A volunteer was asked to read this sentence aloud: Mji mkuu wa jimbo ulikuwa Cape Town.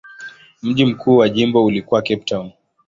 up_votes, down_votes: 2, 0